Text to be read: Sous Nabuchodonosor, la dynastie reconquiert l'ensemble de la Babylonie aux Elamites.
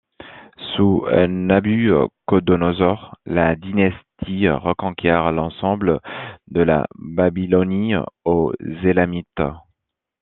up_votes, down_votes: 2, 0